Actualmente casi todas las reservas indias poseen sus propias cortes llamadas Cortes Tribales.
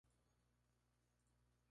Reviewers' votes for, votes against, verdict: 0, 2, rejected